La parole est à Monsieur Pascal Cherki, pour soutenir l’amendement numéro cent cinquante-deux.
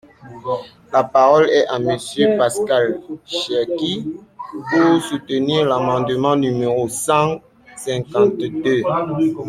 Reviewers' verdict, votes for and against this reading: accepted, 2, 1